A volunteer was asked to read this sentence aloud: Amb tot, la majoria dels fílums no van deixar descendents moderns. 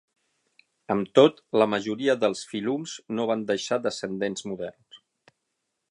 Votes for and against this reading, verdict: 0, 6, rejected